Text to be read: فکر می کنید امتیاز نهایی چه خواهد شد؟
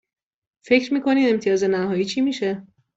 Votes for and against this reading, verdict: 1, 2, rejected